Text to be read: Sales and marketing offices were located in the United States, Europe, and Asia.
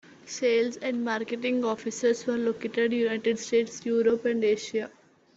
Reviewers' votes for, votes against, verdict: 1, 2, rejected